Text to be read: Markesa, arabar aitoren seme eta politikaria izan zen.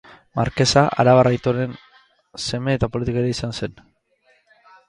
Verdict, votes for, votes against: rejected, 2, 2